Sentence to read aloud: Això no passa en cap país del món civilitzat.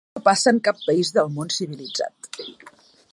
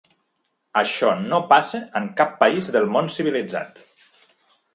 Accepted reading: second